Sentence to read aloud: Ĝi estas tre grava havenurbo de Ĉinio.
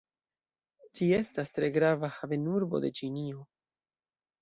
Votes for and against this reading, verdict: 2, 0, accepted